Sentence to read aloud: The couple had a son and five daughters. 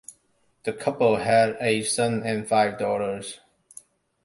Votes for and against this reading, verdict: 2, 1, accepted